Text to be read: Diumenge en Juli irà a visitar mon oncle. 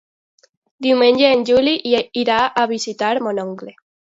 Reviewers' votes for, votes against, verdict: 1, 2, rejected